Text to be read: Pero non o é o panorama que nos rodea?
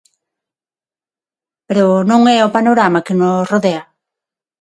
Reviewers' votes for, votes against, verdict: 0, 6, rejected